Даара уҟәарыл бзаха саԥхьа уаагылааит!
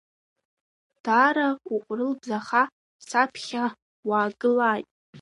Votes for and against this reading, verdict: 1, 2, rejected